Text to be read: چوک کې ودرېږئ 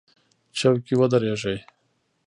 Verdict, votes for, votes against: accepted, 2, 0